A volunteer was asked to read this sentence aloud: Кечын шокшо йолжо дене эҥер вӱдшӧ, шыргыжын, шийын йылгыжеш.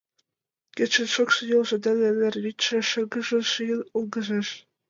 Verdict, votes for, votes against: accepted, 2, 0